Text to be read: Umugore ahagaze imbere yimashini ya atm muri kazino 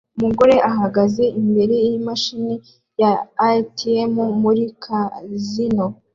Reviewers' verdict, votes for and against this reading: accepted, 2, 0